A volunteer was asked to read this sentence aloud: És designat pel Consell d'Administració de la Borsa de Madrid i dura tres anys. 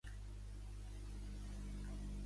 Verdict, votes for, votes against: rejected, 0, 2